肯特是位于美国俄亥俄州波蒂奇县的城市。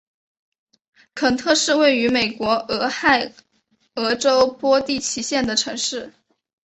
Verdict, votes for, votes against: accepted, 4, 0